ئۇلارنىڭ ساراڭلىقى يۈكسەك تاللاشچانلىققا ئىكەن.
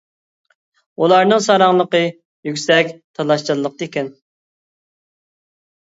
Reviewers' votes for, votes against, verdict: 1, 2, rejected